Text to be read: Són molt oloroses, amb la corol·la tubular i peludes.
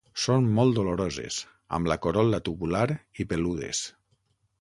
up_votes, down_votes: 0, 6